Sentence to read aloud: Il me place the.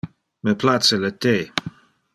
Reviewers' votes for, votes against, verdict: 1, 2, rejected